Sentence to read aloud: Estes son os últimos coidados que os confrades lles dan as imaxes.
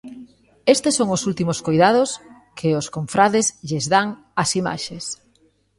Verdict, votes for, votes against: accepted, 2, 0